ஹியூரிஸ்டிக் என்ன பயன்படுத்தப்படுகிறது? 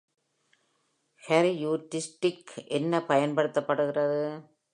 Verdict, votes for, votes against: rejected, 1, 2